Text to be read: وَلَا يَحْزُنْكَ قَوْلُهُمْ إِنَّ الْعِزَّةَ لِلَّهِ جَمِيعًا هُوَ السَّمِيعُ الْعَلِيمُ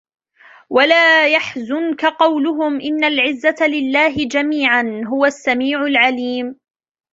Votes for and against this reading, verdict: 2, 1, accepted